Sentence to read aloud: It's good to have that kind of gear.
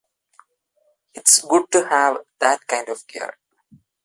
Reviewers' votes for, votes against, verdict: 2, 0, accepted